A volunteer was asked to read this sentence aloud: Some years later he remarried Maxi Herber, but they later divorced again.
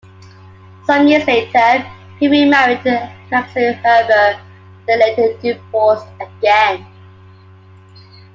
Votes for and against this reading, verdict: 1, 2, rejected